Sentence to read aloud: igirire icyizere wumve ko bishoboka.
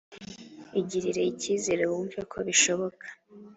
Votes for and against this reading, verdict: 3, 0, accepted